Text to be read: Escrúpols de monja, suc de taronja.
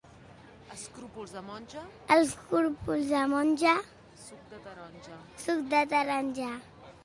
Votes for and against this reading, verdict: 0, 2, rejected